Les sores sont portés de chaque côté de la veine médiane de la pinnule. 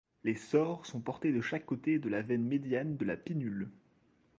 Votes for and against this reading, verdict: 2, 0, accepted